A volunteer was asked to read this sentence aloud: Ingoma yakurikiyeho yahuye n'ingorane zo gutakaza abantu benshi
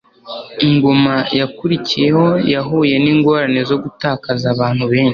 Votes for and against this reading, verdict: 2, 0, accepted